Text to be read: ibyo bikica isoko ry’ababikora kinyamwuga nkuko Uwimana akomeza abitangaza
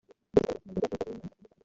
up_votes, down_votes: 1, 2